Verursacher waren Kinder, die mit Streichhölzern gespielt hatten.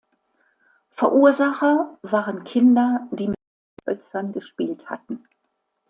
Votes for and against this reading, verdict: 0, 2, rejected